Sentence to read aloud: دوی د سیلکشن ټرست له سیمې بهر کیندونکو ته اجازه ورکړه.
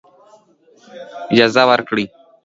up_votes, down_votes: 0, 2